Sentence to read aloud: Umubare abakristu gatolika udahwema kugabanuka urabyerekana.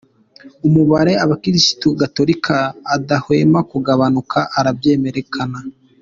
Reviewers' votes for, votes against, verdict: 1, 2, rejected